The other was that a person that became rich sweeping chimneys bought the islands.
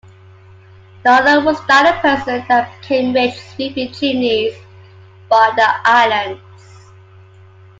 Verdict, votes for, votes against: rejected, 0, 2